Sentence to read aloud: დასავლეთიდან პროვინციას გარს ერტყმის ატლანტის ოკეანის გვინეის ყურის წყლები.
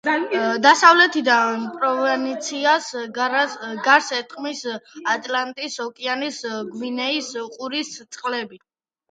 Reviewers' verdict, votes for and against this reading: accepted, 2, 0